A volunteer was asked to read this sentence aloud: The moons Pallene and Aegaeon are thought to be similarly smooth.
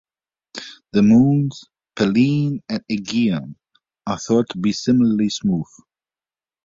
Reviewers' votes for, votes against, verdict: 2, 0, accepted